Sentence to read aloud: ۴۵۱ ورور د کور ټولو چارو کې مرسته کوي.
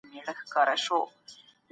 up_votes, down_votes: 0, 2